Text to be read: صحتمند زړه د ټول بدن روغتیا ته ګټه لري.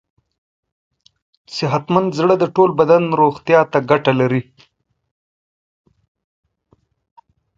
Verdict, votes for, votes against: accepted, 4, 0